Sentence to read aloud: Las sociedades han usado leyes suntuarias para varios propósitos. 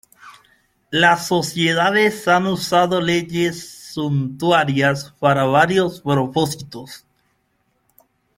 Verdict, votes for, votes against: accepted, 2, 1